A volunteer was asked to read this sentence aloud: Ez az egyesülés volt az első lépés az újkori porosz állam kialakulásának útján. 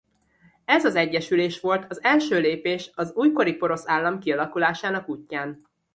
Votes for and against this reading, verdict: 2, 0, accepted